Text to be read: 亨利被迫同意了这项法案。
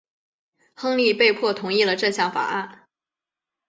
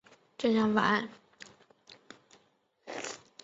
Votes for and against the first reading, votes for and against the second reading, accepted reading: 2, 0, 0, 2, first